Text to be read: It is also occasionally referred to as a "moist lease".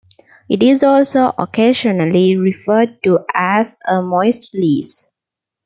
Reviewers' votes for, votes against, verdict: 2, 0, accepted